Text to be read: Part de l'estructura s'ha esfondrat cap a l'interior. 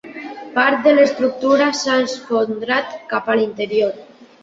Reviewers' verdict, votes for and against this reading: accepted, 2, 1